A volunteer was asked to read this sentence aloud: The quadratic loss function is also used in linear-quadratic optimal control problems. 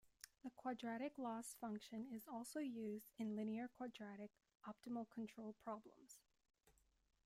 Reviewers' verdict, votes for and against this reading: accepted, 2, 0